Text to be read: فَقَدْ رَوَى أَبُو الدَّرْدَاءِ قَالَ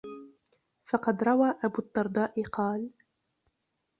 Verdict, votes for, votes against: rejected, 1, 2